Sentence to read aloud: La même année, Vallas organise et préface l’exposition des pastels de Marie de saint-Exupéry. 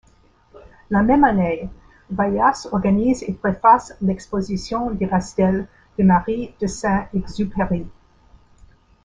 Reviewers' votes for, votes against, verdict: 2, 0, accepted